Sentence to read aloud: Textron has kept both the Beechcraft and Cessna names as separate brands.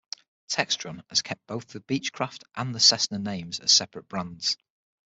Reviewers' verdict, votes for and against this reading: accepted, 6, 0